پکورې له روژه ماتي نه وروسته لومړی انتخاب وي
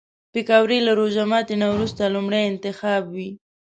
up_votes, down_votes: 6, 0